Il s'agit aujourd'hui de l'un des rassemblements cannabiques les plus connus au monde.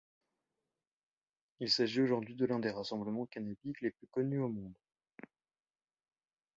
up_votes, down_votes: 1, 2